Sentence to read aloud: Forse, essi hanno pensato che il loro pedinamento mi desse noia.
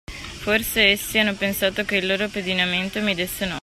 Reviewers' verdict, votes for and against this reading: rejected, 1, 2